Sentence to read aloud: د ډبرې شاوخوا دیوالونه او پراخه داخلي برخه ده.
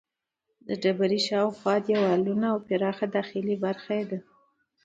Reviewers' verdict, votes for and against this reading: accepted, 2, 0